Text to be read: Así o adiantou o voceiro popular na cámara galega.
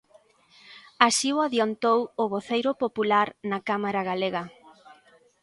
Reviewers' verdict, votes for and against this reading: accepted, 2, 0